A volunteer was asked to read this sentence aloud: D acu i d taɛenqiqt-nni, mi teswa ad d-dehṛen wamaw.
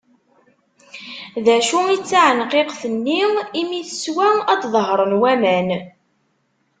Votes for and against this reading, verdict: 1, 2, rejected